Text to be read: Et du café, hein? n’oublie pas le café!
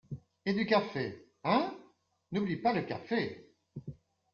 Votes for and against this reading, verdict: 2, 0, accepted